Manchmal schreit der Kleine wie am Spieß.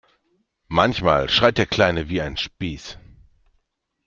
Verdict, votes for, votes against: rejected, 0, 2